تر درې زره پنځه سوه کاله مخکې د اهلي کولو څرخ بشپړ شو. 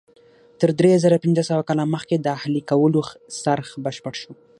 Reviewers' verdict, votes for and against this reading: accepted, 6, 3